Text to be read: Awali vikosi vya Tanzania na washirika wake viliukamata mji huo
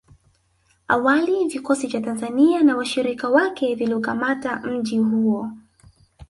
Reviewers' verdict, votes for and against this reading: rejected, 1, 2